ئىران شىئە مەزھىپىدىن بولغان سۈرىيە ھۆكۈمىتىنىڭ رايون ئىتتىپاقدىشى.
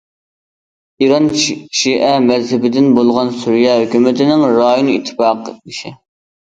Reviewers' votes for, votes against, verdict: 0, 2, rejected